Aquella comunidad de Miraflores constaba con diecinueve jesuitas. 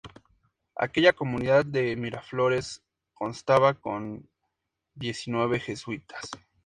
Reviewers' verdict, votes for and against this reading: accepted, 2, 0